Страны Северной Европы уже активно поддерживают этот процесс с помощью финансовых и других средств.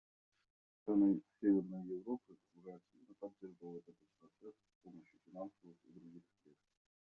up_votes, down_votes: 0, 2